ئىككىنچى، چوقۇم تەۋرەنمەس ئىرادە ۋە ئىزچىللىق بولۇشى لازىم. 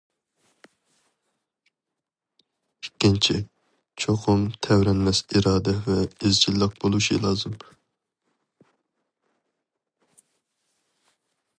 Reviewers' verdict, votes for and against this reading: accepted, 2, 0